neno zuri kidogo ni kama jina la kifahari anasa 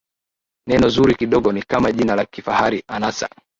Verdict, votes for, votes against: accepted, 12, 0